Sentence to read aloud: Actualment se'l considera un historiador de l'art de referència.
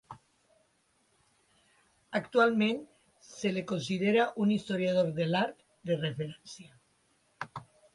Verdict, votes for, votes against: rejected, 1, 2